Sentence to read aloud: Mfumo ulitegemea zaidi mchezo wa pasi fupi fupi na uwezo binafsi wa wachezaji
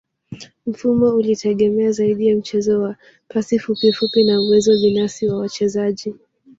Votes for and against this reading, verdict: 0, 2, rejected